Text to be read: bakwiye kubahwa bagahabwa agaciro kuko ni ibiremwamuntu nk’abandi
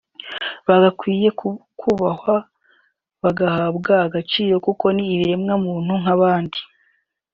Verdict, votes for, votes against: rejected, 0, 2